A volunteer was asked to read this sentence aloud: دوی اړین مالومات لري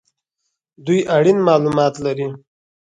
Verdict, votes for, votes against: accepted, 6, 0